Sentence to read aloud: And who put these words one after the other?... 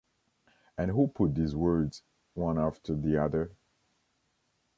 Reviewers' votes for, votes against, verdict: 2, 1, accepted